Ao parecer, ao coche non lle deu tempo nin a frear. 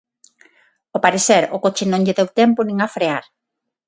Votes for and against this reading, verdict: 6, 0, accepted